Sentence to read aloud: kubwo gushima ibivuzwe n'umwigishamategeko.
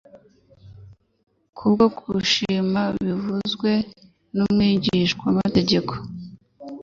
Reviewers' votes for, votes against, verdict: 2, 0, accepted